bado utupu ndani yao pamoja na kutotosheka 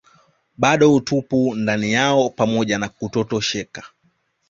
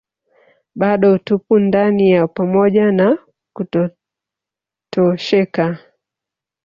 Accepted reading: first